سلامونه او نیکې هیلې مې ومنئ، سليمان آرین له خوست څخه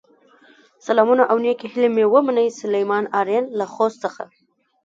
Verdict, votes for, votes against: rejected, 1, 2